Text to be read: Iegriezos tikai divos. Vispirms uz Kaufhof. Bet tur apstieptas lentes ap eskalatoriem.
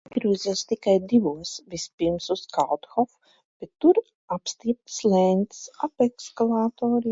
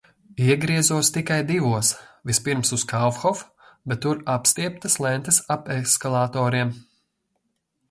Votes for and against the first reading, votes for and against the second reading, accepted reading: 0, 2, 2, 0, second